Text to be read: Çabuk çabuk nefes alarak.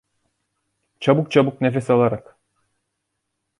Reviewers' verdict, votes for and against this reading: accepted, 2, 0